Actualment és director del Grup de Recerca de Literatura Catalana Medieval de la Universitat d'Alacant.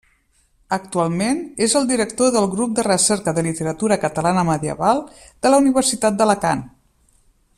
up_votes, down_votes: 1, 2